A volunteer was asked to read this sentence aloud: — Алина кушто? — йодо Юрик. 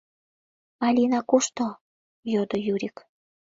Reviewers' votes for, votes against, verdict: 2, 0, accepted